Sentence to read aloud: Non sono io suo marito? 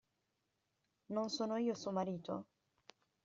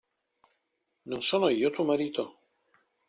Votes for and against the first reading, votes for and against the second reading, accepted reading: 2, 1, 0, 2, first